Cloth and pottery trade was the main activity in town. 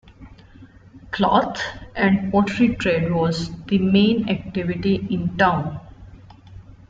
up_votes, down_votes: 0, 2